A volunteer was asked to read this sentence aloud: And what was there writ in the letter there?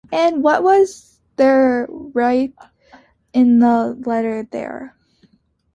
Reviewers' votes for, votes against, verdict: 1, 2, rejected